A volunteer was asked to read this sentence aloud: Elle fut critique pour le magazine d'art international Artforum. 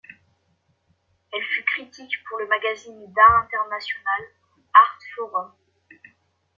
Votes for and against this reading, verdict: 1, 2, rejected